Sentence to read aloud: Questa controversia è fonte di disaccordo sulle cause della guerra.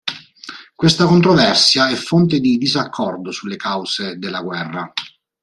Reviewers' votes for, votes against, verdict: 2, 0, accepted